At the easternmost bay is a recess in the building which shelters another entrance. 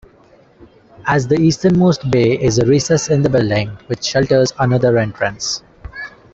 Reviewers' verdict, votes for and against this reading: rejected, 0, 2